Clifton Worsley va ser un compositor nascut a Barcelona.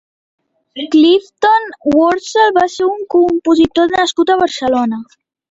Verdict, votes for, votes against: accepted, 2, 1